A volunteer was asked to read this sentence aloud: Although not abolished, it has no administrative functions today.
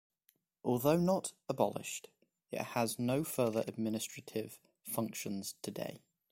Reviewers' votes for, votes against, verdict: 1, 3, rejected